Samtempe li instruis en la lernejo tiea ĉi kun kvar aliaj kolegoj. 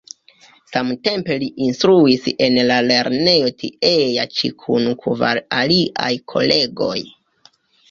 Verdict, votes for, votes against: accepted, 2, 0